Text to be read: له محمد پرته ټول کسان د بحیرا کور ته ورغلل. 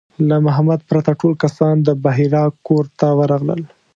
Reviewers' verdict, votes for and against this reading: accepted, 2, 0